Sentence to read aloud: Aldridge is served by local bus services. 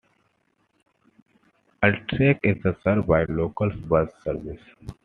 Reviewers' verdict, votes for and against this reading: accepted, 2, 0